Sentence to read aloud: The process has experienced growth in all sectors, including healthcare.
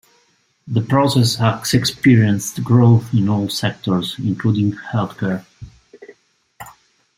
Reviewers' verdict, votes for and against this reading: accepted, 2, 1